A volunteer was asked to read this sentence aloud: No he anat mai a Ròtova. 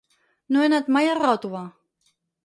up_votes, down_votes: 4, 0